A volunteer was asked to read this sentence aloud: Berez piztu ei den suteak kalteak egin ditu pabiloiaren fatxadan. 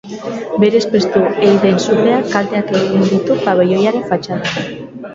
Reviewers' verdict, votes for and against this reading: rejected, 0, 2